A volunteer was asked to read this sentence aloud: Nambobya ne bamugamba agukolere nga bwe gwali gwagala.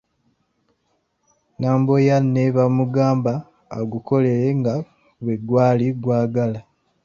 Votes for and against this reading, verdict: 0, 2, rejected